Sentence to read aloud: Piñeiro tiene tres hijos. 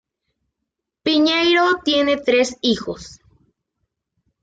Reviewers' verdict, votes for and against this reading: accepted, 2, 0